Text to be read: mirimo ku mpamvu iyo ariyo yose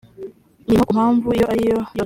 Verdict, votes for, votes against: rejected, 1, 2